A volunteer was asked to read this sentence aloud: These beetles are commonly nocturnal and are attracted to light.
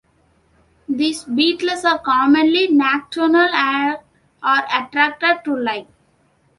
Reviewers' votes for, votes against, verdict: 2, 1, accepted